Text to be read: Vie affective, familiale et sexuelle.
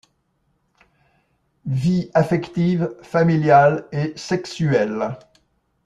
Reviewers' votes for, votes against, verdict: 2, 0, accepted